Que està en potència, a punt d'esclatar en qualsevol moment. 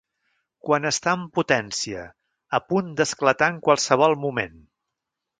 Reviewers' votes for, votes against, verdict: 1, 2, rejected